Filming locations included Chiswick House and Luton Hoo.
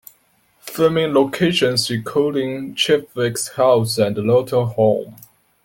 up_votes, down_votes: 0, 2